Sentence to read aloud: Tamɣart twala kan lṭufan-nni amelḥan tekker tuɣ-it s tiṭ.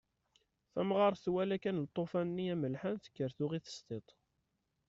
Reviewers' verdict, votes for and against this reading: rejected, 1, 2